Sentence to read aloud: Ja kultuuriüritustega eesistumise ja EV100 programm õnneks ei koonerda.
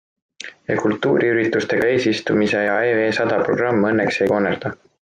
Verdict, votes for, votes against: rejected, 0, 2